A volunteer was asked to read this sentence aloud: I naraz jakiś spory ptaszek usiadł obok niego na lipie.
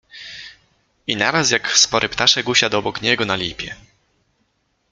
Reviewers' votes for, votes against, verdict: 1, 2, rejected